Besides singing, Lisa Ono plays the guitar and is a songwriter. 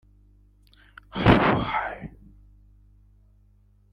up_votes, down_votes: 0, 2